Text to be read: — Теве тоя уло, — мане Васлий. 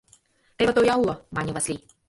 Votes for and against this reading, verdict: 2, 0, accepted